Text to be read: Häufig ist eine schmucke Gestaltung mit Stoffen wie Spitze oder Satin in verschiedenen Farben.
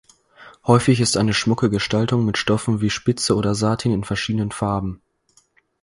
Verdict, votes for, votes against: rejected, 2, 4